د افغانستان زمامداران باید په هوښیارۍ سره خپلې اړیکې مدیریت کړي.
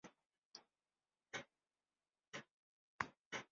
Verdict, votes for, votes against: rejected, 0, 4